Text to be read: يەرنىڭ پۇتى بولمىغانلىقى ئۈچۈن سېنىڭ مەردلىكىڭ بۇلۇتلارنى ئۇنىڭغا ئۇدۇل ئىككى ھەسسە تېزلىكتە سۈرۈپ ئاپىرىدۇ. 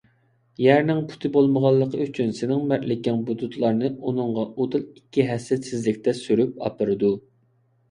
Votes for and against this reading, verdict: 2, 0, accepted